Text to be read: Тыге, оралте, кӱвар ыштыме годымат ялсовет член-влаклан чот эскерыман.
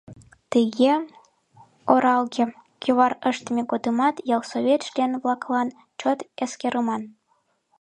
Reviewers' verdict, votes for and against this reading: rejected, 0, 2